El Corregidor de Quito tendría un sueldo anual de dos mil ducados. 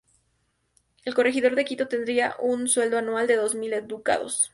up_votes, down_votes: 2, 0